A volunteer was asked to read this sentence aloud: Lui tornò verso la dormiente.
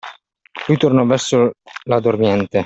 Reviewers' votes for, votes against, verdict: 2, 1, accepted